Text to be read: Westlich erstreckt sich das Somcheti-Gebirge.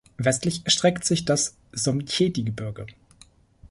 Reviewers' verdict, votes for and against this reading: accepted, 2, 0